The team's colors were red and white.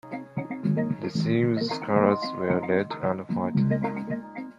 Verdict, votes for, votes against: rejected, 1, 2